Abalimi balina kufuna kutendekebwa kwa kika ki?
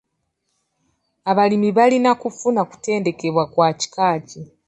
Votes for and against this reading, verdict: 2, 0, accepted